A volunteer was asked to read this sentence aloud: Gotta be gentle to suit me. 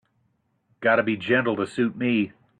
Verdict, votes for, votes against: accepted, 2, 0